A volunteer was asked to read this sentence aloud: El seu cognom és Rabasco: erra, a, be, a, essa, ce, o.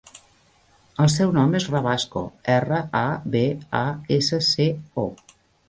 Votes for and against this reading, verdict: 0, 2, rejected